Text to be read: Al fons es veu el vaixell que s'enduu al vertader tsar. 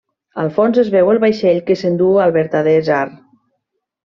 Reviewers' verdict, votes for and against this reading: accepted, 2, 0